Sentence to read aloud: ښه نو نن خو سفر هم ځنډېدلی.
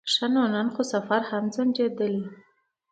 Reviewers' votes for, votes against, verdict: 2, 1, accepted